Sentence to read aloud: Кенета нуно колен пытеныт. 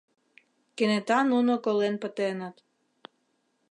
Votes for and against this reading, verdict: 2, 0, accepted